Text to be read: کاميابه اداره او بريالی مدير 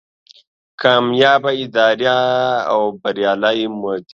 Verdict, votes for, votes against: rejected, 1, 2